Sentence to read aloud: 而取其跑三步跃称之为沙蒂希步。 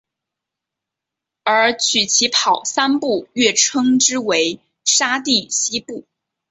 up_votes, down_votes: 6, 1